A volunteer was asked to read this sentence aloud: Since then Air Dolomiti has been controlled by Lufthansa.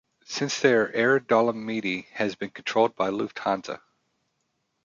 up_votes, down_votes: 0, 2